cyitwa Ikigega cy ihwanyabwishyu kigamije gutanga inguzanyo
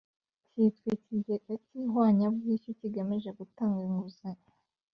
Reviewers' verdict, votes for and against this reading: accepted, 2, 0